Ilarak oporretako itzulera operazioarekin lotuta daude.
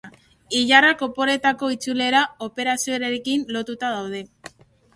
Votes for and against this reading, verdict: 0, 2, rejected